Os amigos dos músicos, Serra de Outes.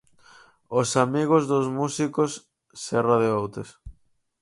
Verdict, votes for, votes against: accepted, 4, 0